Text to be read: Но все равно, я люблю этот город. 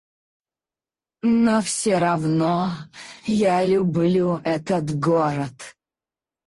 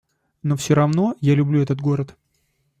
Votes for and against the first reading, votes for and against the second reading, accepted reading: 0, 4, 2, 0, second